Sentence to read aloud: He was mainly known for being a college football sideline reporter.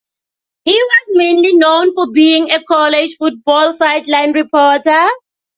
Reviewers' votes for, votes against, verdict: 2, 0, accepted